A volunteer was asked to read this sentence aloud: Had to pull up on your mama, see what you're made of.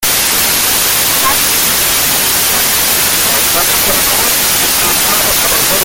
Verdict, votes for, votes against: rejected, 0, 2